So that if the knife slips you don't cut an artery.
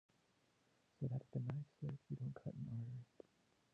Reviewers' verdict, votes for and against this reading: rejected, 1, 2